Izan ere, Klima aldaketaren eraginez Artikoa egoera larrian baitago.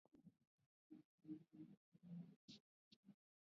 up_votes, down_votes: 0, 3